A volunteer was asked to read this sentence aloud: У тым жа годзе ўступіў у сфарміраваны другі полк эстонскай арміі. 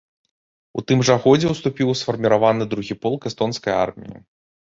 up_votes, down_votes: 2, 0